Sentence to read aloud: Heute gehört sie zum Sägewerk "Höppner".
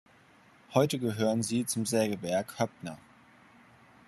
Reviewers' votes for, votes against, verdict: 1, 2, rejected